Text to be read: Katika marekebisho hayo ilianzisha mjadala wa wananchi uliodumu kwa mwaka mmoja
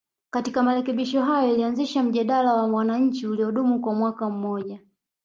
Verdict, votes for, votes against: rejected, 1, 2